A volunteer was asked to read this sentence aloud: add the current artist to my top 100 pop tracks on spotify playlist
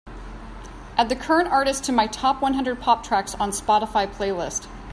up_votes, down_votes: 0, 2